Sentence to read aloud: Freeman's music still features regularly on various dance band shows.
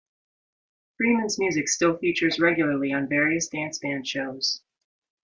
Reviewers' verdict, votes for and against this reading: accepted, 2, 0